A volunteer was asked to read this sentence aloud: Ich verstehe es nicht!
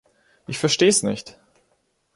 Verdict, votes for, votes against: accepted, 2, 1